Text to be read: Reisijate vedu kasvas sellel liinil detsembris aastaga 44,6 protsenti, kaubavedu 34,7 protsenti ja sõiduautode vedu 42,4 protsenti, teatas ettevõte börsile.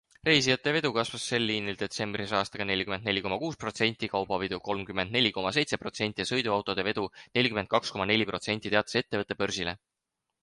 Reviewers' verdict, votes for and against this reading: rejected, 0, 2